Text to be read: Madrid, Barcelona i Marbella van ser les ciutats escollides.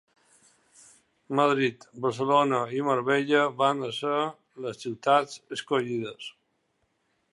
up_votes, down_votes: 2, 0